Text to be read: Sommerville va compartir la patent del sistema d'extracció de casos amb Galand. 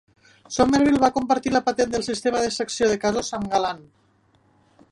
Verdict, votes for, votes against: rejected, 1, 4